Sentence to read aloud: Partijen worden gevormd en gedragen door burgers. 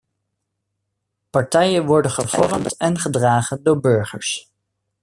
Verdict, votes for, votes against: rejected, 1, 2